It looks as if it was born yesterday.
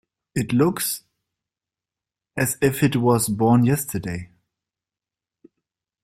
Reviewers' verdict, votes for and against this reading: accepted, 2, 0